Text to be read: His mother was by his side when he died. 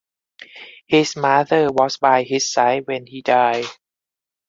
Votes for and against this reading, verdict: 4, 0, accepted